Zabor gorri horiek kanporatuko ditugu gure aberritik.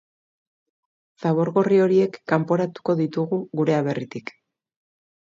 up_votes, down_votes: 2, 0